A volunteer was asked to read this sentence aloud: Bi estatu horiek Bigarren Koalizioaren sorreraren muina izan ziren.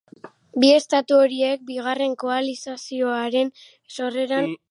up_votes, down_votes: 0, 2